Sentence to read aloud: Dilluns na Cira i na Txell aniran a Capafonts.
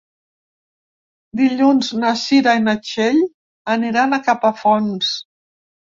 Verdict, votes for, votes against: accepted, 2, 0